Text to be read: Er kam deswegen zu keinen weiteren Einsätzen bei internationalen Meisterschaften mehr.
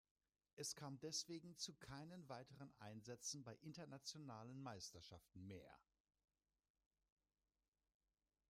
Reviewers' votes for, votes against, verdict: 1, 2, rejected